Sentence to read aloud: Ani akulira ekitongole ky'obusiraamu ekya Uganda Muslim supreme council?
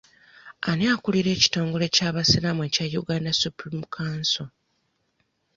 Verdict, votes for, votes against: rejected, 1, 2